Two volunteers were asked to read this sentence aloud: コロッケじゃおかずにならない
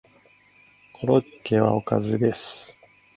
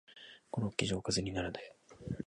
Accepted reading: second